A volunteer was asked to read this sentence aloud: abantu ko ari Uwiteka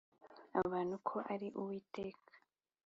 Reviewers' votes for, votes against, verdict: 2, 0, accepted